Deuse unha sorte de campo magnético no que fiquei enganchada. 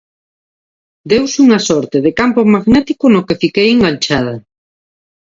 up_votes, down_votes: 2, 0